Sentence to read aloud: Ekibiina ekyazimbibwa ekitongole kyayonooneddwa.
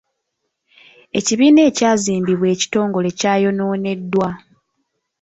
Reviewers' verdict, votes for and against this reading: accepted, 2, 0